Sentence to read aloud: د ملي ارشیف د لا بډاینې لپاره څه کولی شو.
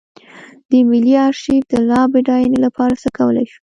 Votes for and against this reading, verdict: 2, 0, accepted